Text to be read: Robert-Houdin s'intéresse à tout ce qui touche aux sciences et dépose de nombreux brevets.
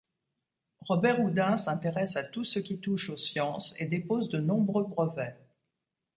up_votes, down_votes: 2, 0